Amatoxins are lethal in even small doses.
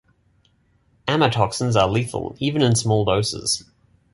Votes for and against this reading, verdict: 2, 0, accepted